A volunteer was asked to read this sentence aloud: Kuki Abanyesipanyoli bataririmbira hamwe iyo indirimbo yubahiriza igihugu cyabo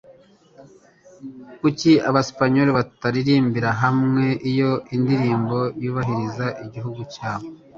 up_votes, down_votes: 1, 2